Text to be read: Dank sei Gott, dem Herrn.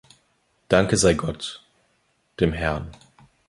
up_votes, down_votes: 0, 2